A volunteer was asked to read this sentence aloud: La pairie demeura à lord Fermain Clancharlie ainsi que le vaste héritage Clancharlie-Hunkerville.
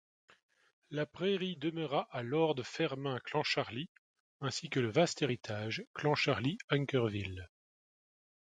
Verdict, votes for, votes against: rejected, 1, 2